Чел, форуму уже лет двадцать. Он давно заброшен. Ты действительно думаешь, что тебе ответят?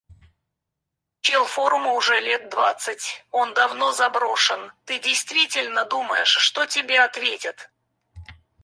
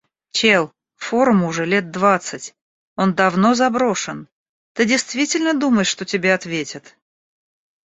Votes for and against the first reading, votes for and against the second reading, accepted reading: 0, 4, 2, 0, second